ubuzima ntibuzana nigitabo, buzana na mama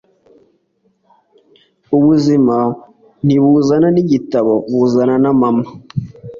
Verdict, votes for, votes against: accepted, 2, 0